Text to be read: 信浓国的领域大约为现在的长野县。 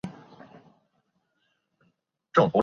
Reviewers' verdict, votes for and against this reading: rejected, 0, 3